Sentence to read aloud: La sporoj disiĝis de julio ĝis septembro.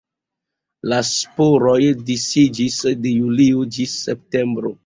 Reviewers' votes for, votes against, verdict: 0, 2, rejected